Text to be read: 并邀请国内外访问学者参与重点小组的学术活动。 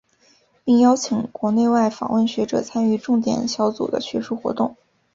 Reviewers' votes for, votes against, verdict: 4, 0, accepted